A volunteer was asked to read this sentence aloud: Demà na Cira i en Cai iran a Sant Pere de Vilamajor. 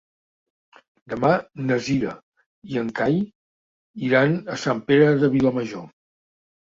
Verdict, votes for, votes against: accepted, 3, 0